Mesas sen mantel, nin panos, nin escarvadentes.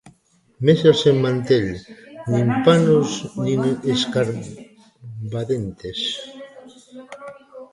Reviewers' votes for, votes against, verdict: 0, 2, rejected